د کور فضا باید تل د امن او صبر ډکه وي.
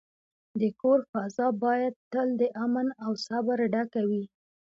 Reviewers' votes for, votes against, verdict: 2, 0, accepted